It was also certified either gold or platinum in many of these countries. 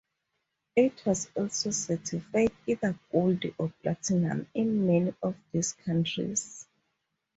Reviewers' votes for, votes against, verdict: 2, 0, accepted